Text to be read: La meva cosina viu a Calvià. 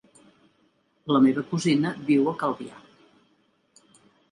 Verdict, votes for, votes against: accepted, 2, 0